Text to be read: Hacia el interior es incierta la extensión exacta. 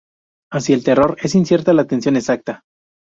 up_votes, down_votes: 0, 2